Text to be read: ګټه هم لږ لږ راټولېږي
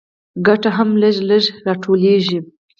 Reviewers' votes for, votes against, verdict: 4, 0, accepted